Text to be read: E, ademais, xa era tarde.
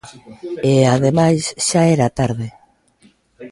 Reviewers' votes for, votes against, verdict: 2, 0, accepted